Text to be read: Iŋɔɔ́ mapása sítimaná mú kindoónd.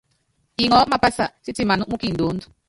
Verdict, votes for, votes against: rejected, 0, 2